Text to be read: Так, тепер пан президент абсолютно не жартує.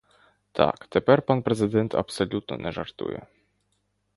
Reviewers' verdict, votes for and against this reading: accepted, 2, 0